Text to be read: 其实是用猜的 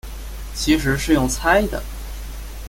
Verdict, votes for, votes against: accepted, 2, 0